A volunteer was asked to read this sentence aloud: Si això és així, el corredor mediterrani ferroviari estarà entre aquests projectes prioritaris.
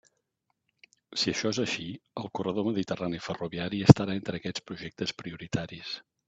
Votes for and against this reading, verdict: 3, 0, accepted